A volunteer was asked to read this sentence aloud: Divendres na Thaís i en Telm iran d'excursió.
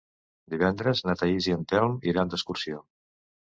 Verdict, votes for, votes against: accepted, 2, 0